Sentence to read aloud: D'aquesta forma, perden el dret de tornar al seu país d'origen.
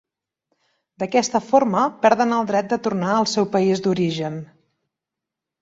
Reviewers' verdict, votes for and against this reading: accepted, 3, 0